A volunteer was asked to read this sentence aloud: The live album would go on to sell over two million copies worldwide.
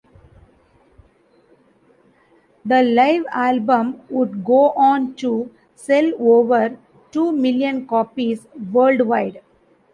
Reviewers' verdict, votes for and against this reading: accepted, 2, 0